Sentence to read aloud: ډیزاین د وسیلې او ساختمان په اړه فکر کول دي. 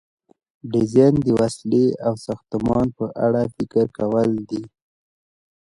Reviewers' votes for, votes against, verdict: 0, 2, rejected